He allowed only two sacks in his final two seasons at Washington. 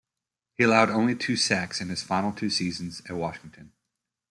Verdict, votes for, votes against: rejected, 0, 2